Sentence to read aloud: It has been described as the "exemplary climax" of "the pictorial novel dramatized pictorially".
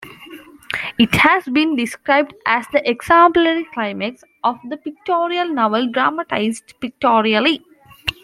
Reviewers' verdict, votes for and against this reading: accepted, 2, 1